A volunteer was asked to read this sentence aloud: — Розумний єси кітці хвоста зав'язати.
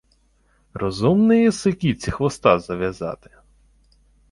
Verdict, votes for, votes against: accepted, 2, 0